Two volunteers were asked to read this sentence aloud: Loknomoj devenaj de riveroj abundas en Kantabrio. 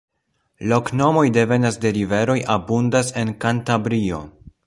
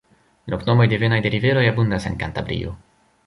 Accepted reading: first